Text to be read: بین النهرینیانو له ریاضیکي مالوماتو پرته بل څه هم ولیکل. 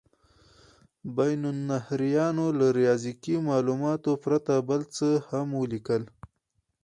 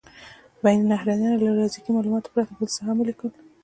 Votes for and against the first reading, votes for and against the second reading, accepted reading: 2, 0, 1, 2, first